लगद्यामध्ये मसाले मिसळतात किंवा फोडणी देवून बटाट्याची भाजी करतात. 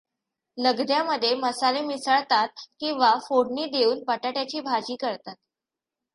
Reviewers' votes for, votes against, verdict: 1, 2, rejected